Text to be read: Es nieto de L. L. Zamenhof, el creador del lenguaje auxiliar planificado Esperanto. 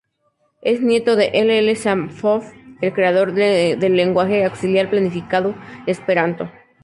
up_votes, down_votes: 2, 0